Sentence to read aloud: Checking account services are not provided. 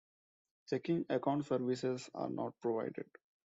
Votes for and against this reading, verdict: 2, 0, accepted